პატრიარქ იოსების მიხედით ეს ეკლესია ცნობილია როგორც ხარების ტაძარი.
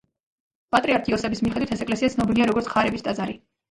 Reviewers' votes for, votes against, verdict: 1, 2, rejected